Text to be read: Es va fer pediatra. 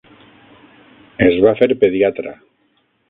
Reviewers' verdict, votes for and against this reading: rejected, 3, 6